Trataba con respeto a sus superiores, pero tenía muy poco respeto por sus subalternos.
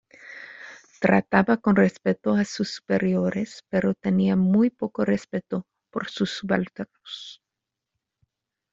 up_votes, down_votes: 1, 2